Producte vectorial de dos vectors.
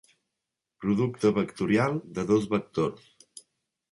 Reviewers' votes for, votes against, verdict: 2, 0, accepted